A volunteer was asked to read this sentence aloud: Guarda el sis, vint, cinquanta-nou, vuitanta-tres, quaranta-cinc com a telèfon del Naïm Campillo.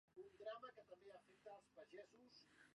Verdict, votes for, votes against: rejected, 0, 2